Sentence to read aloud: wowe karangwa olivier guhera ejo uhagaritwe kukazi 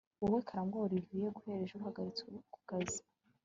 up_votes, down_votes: 4, 0